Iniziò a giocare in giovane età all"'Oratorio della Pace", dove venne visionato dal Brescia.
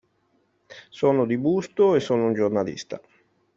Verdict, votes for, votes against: rejected, 0, 2